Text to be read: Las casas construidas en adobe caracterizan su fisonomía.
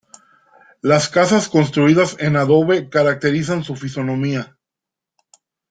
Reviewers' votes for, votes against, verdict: 0, 2, rejected